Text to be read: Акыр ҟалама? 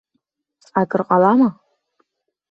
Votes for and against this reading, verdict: 1, 2, rejected